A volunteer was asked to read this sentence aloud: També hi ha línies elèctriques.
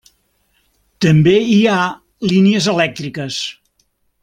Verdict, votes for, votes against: accepted, 3, 0